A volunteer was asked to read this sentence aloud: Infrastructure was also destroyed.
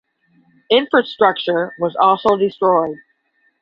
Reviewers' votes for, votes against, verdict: 10, 0, accepted